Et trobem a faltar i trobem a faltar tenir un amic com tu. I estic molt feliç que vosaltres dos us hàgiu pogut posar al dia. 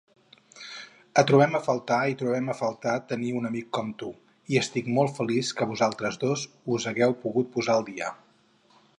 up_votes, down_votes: 0, 4